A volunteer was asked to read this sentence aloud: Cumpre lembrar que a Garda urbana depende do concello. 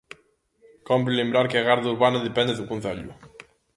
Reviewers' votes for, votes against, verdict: 0, 2, rejected